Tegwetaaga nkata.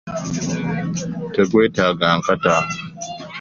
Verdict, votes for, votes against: accepted, 2, 0